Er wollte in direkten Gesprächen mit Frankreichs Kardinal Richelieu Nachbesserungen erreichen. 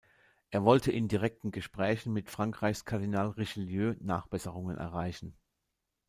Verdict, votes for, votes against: accepted, 2, 0